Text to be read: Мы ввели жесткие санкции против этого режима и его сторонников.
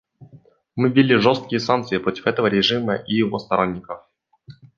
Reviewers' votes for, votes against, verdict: 2, 0, accepted